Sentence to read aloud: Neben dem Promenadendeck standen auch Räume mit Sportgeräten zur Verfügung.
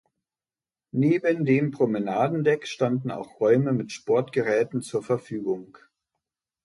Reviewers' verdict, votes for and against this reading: accepted, 2, 0